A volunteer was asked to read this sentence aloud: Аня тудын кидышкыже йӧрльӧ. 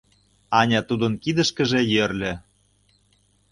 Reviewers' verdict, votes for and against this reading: accepted, 2, 0